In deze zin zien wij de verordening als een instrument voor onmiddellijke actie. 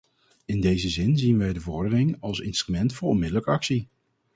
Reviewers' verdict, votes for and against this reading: rejected, 0, 4